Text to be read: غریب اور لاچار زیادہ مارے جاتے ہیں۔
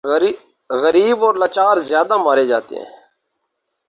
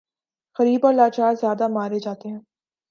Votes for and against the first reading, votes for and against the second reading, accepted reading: 2, 2, 2, 0, second